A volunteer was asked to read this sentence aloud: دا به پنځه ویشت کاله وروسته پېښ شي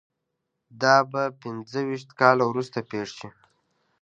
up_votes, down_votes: 2, 0